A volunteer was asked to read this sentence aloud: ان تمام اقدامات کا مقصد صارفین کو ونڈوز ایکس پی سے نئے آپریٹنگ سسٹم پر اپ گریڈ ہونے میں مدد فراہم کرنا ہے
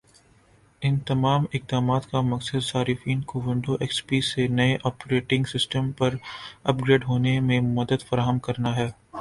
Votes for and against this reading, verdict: 9, 1, accepted